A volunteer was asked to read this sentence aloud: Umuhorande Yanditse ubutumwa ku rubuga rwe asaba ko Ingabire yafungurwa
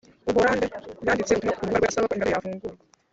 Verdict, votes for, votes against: rejected, 2, 4